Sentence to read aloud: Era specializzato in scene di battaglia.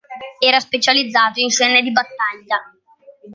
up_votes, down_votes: 2, 0